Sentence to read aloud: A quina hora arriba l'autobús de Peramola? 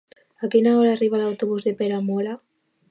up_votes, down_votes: 2, 0